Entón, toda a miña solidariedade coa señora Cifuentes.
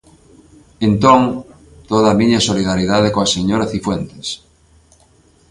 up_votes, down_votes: 2, 1